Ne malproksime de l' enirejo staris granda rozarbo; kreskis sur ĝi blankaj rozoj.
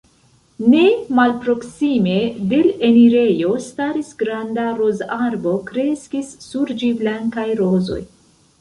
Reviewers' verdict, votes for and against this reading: rejected, 1, 2